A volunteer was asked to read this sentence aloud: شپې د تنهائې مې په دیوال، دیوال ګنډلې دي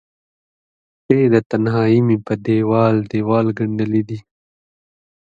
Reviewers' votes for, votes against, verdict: 2, 0, accepted